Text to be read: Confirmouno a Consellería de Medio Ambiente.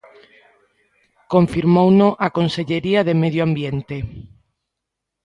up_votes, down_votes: 2, 0